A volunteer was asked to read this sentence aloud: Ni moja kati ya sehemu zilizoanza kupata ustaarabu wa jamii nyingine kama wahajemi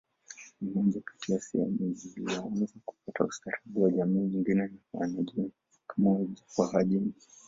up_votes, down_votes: 0, 2